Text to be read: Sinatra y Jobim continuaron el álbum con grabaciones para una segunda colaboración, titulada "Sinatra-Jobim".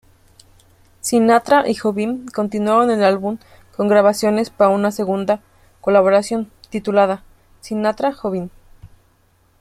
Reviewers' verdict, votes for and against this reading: rejected, 1, 2